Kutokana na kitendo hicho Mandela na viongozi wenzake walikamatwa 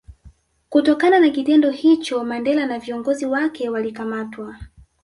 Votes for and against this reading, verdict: 1, 2, rejected